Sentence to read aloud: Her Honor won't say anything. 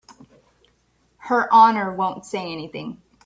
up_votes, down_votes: 2, 0